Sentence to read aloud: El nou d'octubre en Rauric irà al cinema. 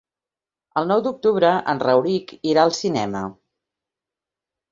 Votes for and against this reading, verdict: 3, 0, accepted